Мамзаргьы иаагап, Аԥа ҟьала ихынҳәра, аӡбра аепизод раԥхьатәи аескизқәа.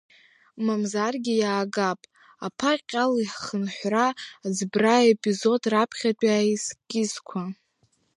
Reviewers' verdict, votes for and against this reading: rejected, 1, 2